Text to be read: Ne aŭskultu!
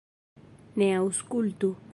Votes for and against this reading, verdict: 2, 0, accepted